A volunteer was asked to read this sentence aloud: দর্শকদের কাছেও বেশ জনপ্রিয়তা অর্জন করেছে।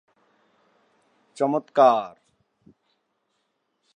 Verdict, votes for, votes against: rejected, 0, 2